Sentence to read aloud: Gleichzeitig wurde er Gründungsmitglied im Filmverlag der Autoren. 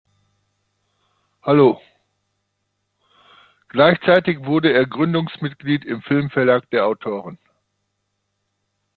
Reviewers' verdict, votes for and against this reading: rejected, 0, 2